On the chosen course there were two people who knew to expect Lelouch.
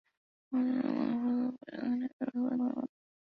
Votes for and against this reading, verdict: 0, 2, rejected